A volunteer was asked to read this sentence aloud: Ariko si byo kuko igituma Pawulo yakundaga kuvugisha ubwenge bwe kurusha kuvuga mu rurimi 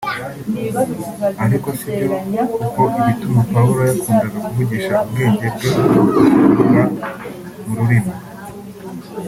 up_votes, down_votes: 1, 2